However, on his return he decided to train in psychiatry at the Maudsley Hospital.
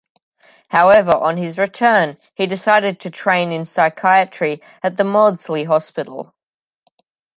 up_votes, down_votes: 2, 0